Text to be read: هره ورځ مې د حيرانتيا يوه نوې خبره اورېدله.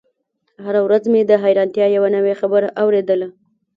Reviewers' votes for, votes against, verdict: 2, 0, accepted